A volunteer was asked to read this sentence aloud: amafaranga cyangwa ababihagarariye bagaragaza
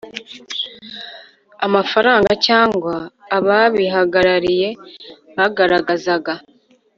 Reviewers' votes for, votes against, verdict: 1, 2, rejected